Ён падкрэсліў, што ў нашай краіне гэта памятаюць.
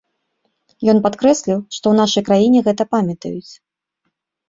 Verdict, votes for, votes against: accepted, 2, 0